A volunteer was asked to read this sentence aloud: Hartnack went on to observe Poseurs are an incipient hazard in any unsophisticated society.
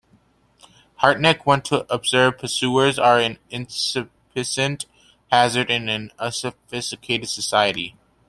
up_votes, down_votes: 0, 2